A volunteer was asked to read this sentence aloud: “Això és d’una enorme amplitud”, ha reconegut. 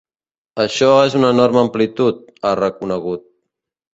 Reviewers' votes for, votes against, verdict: 0, 2, rejected